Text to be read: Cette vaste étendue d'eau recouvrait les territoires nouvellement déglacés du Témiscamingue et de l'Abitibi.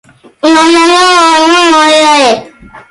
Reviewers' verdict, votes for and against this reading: rejected, 0, 2